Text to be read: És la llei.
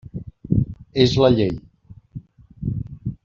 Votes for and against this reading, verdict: 3, 0, accepted